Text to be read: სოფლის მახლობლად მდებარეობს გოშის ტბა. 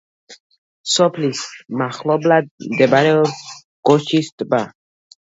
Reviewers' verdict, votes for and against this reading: rejected, 1, 2